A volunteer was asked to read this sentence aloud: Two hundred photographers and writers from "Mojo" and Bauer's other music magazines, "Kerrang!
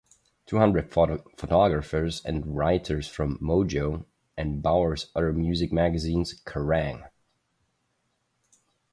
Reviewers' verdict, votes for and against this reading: rejected, 0, 2